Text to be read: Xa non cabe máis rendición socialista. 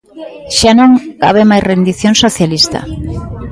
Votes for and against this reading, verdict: 2, 0, accepted